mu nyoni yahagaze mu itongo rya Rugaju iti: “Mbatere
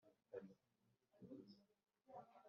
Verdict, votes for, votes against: rejected, 0, 2